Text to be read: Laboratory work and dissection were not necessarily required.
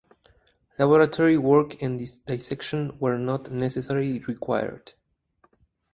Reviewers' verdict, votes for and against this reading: rejected, 2, 2